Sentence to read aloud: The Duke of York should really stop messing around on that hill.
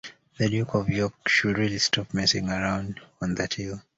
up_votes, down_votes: 2, 0